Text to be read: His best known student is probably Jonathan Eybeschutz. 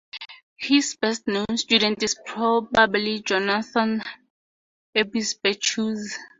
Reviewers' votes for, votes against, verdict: 0, 2, rejected